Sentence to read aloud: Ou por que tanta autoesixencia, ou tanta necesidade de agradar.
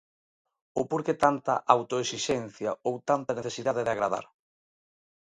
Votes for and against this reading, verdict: 2, 0, accepted